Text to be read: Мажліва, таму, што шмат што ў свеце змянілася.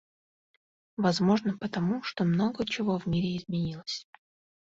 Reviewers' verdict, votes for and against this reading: rejected, 0, 2